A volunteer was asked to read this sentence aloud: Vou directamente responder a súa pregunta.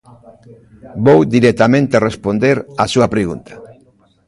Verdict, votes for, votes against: rejected, 0, 2